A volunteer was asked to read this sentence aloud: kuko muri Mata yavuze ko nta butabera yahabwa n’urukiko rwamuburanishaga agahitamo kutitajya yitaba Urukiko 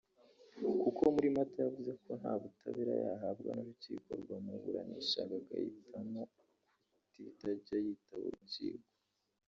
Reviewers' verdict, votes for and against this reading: rejected, 1, 2